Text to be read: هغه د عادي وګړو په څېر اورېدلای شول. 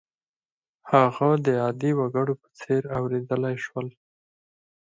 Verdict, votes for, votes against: accepted, 4, 0